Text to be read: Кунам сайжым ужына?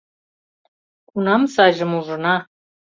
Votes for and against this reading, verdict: 2, 0, accepted